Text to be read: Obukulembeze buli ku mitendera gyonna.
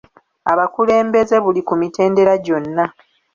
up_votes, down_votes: 1, 2